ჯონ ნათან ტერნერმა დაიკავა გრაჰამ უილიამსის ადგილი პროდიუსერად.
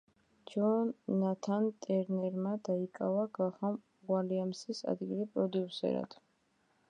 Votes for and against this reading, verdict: 2, 0, accepted